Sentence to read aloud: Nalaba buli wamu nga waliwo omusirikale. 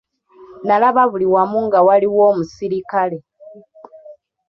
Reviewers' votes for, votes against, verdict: 1, 2, rejected